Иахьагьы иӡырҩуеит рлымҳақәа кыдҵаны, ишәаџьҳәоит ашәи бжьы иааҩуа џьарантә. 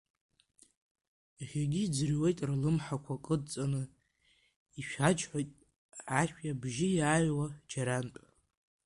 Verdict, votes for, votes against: rejected, 0, 2